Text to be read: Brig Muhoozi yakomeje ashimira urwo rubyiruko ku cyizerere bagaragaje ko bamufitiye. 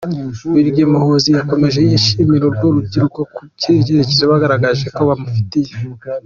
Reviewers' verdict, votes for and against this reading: accepted, 2, 1